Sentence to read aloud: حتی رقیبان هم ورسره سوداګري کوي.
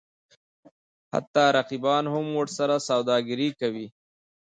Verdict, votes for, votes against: accepted, 2, 0